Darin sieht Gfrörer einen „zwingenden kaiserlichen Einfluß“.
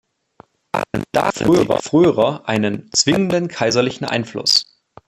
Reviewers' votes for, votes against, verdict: 0, 2, rejected